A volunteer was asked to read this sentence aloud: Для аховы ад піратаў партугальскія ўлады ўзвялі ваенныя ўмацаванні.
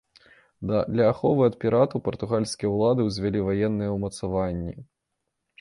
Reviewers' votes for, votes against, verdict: 0, 2, rejected